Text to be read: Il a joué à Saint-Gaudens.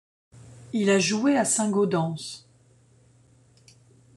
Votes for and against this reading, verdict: 1, 2, rejected